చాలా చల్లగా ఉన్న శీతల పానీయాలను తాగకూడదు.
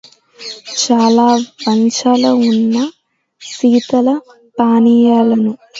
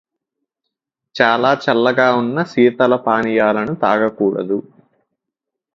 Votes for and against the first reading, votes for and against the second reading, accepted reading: 0, 2, 2, 0, second